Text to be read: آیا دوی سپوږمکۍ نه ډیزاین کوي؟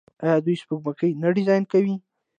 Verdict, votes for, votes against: accepted, 2, 0